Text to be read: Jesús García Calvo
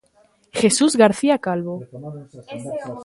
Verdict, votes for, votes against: accepted, 2, 1